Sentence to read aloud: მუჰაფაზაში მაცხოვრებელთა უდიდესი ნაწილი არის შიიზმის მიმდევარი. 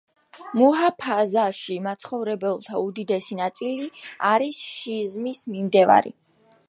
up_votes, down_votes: 0, 2